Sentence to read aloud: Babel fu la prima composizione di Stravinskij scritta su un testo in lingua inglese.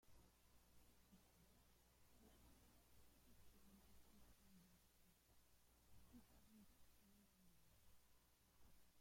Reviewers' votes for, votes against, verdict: 0, 2, rejected